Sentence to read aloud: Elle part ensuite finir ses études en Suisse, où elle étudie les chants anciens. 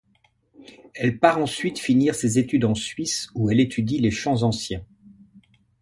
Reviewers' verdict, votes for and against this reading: accepted, 2, 0